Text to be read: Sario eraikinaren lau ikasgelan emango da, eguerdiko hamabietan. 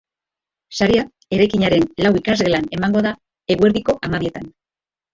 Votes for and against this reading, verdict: 1, 2, rejected